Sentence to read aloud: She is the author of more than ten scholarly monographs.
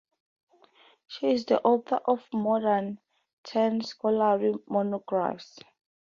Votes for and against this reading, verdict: 2, 0, accepted